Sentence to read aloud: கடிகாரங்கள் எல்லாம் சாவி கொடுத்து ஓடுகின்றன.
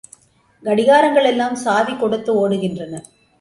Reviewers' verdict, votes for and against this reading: accepted, 2, 0